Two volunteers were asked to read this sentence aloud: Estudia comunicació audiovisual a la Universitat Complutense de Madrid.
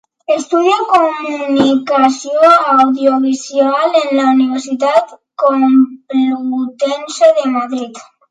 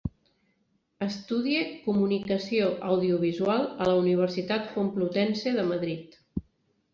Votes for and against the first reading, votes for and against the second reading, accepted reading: 0, 2, 2, 0, second